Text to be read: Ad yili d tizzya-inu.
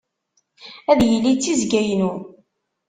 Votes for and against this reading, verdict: 1, 2, rejected